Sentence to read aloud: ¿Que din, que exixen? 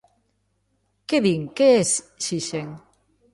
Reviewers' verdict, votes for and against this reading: rejected, 0, 3